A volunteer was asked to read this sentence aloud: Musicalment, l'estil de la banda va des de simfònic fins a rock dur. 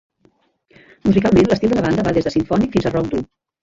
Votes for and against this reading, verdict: 1, 2, rejected